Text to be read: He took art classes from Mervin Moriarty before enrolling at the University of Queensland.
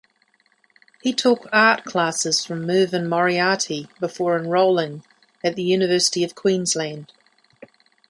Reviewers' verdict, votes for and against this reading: accepted, 2, 0